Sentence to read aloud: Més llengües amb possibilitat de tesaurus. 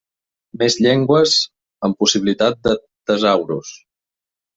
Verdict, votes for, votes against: rejected, 0, 2